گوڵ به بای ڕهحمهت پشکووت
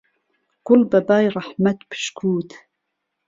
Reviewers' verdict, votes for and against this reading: accepted, 2, 0